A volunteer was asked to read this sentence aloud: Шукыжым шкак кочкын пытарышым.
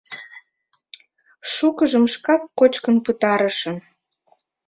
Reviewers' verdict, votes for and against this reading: accepted, 2, 0